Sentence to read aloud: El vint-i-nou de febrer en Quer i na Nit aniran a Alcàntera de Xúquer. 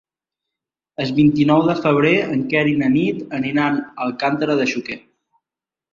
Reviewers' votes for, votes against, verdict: 0, 2, rejected